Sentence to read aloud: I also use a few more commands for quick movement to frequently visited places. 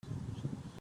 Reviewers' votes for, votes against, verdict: 0, 2, rejected